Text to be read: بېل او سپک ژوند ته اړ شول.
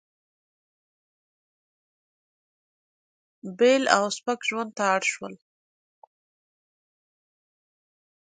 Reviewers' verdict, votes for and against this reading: rejected, 1, 2